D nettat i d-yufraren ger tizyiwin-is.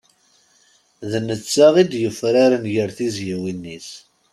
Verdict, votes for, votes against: accepted, 2, 1